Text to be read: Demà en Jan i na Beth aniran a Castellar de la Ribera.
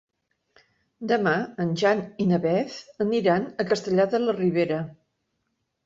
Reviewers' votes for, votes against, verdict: 3, 0, accepted